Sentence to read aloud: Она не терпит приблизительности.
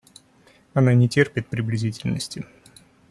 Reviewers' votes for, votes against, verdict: 2, 0, accepted